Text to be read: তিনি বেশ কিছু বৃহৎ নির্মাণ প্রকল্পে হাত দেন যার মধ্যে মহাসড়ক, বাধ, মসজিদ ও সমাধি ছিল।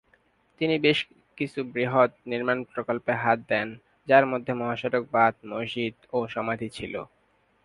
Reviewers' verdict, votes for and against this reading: rejected, 0, 2